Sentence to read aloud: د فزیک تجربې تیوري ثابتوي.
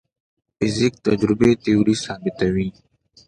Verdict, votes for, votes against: accepted, 2, 0